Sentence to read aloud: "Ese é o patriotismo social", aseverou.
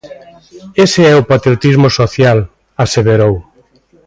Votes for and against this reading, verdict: 2, 0, accepted